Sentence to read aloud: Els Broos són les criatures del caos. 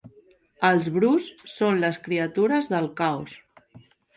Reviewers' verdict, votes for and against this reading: accepted, 5, 0